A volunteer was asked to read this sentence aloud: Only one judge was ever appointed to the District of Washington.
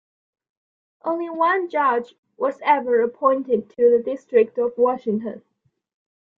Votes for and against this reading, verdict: 2, 0, accepted